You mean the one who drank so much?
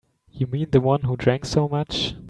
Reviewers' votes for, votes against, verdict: 3, 0, accepted